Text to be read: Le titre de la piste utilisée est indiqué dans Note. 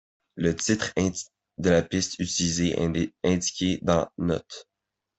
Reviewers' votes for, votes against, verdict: 0, 2, rejected